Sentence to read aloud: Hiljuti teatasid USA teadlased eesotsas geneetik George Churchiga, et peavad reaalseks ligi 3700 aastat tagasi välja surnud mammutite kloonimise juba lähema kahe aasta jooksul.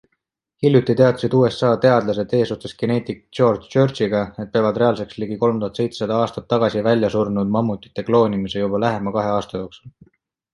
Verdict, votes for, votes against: rejected, 0, 2